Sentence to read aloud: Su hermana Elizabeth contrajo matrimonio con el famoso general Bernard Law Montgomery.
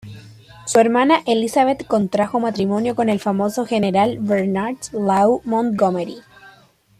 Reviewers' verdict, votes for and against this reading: accepted, 3, 0